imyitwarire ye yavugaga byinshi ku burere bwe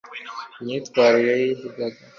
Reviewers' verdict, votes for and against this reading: rejected, 0, 2